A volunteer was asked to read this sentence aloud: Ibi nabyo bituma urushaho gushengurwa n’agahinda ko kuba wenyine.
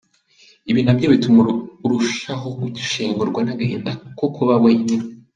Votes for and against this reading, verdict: 1, 2, rejected